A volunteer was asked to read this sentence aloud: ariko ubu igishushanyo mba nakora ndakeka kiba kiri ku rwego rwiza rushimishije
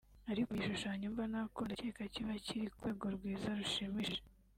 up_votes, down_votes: 0, 2